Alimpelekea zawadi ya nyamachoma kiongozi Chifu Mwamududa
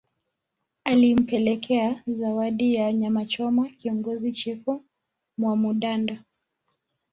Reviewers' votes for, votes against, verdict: 2, 1, accepted